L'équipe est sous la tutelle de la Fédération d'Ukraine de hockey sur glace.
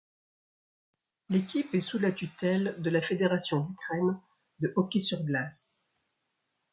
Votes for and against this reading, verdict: 1, 2, rejected